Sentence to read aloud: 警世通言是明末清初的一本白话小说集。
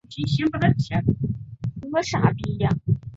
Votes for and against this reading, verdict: 0, 3, rejected